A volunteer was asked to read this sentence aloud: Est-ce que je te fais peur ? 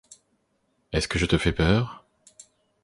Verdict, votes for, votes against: accepted, 2, 0